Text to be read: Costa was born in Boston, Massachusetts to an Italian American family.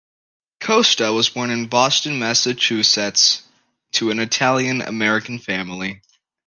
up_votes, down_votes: 2, 0